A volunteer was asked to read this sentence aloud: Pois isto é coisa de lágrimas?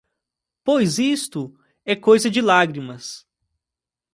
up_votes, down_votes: 1, 2